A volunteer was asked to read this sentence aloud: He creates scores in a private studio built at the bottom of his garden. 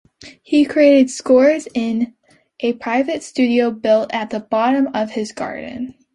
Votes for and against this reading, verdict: 2, 0, accepted